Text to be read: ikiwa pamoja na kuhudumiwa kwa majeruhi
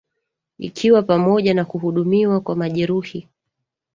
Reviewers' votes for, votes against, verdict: 1, 2, rejected